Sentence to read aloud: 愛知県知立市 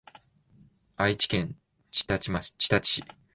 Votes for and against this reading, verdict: 2, 1, accepted